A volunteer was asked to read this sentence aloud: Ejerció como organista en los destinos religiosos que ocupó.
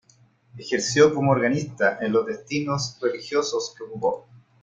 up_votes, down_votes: 2, 0